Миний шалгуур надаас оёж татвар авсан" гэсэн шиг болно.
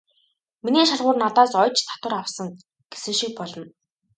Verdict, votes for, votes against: rejected, 0, 2